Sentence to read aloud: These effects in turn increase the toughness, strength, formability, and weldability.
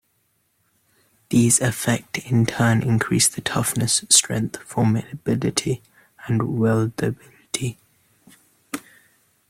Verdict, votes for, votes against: rejected, 1, 2